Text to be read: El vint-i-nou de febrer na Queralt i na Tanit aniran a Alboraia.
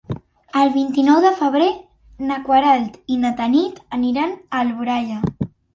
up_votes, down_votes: 1, 2